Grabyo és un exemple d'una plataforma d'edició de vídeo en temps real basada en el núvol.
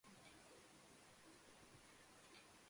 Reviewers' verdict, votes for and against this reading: rejected, 0, 2